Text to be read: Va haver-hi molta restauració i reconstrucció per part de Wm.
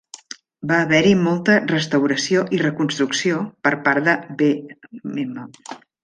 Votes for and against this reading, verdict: 0, 2, rejected